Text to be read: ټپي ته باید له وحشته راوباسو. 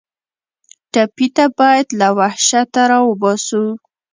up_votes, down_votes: 2, 0